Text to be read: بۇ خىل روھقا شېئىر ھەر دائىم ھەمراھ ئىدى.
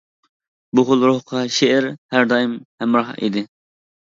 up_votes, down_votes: 2, 1